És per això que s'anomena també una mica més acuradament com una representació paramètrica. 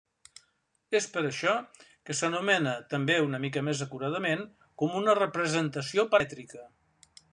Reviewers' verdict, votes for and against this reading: rejected, 1, 2